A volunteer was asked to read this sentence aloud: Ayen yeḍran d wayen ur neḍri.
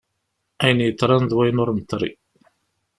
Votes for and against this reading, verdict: 2, 0, accepted